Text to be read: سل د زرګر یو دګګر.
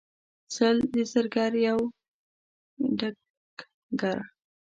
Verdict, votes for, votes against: rejected, 1, 2